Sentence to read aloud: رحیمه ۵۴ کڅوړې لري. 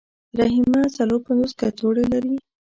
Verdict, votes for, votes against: rejected, 0, 2